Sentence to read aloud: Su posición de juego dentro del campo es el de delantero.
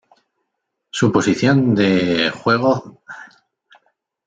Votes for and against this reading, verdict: 0, 2, rejected